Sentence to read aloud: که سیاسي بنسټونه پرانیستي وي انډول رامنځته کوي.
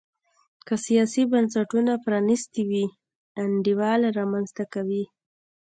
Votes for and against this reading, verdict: 1, 2, rejected